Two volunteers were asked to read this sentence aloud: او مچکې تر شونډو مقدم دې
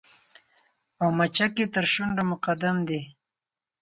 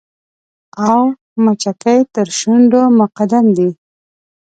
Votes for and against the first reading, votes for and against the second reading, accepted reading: 4, 0, 0, 2, first